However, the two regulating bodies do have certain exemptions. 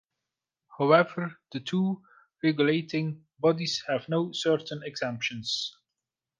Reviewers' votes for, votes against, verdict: 0, 2, rejected